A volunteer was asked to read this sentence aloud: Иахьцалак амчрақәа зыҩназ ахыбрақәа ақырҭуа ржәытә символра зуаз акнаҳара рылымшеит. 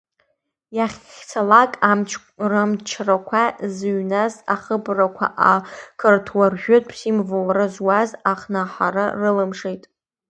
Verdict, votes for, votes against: accepted, 2, 0